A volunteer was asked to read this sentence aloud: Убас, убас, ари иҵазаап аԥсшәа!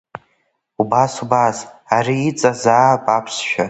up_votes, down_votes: 2, 1